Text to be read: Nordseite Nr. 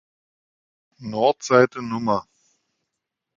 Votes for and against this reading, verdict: 2, 0, accepted